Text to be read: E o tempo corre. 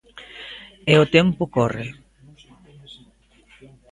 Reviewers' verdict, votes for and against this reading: accepted, 2, 0